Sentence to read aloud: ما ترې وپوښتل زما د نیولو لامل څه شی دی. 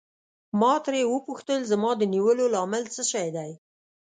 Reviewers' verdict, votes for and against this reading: accepted, 2, 0